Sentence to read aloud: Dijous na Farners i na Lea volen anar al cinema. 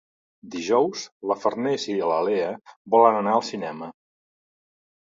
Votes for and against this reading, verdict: 0, 2, rejected